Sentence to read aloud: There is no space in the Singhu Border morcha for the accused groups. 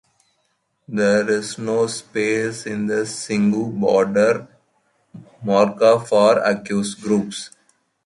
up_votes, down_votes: 0, 2